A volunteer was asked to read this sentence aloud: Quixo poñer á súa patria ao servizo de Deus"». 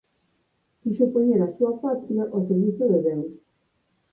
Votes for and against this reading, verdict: 0, 8, rejected